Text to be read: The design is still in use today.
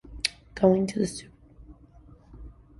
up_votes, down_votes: 0, 2